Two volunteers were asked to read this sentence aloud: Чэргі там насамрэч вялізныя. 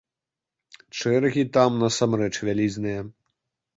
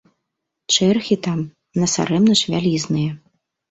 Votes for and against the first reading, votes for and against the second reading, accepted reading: 2, 1, 0, 2, first